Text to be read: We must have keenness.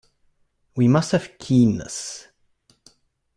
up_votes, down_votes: 2, 1